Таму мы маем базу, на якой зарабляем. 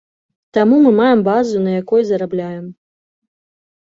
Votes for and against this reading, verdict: 2, 0, accepted